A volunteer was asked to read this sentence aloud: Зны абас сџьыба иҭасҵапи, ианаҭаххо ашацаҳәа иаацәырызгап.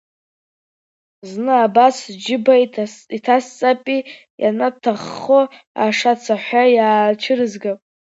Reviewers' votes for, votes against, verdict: 0, 2, rejected